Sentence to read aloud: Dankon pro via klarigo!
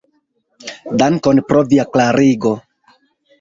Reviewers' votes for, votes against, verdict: 2, 1, accepted